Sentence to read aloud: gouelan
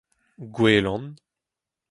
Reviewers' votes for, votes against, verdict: 4, 0, accepted